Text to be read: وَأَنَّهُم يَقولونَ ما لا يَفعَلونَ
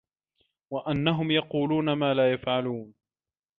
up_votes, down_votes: 2, 0